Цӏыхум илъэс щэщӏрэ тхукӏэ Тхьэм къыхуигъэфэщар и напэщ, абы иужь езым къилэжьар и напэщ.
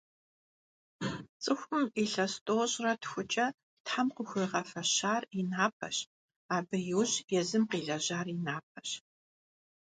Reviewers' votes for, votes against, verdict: 1, 2, rejected